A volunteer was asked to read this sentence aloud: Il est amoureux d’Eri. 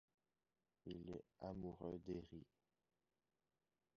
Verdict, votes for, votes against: rejected, 1, 2